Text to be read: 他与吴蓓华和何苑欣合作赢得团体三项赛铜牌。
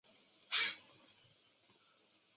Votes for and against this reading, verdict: 0, 2, rejected